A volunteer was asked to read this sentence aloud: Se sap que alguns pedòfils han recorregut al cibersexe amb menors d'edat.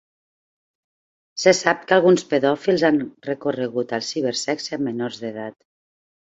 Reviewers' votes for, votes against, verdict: 2, 0, accepted